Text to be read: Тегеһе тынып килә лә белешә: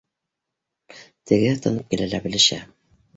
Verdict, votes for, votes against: rejected, 1, 2